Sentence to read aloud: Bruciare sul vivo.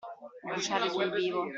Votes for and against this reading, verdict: 2, 1, accepted